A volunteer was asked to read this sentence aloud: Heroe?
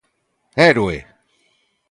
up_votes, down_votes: 0, 2